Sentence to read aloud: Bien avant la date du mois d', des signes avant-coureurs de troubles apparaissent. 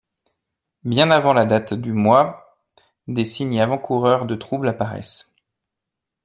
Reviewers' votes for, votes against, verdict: 1, 2, rejected